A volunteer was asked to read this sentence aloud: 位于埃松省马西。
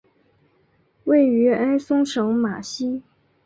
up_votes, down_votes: 2, 0